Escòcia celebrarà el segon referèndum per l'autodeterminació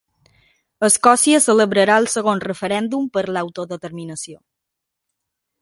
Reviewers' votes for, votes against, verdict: 2, 0, accepted